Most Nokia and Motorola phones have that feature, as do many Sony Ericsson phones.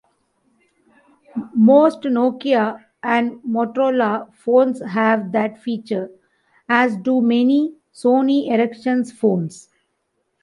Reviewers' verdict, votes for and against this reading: rejected, 0, 2